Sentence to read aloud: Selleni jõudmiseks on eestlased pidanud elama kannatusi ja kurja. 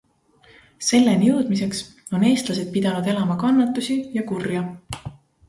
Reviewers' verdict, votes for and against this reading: accepted, 2, 0